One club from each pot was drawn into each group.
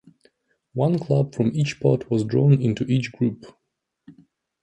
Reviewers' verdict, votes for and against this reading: accepted, 2, 0